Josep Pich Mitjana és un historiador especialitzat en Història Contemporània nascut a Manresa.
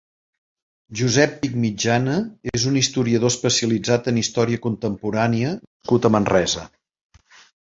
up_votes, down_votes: 0, 2